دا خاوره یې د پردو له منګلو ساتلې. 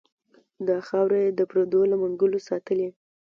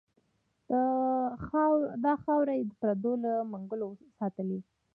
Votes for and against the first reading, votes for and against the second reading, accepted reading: 2, 1, 0, 2, first